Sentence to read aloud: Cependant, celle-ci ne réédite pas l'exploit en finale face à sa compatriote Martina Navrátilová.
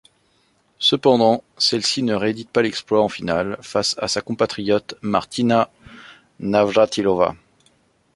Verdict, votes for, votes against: accepted, 2, 0